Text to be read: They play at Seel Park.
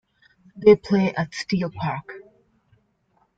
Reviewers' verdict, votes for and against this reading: rejected, 0, 2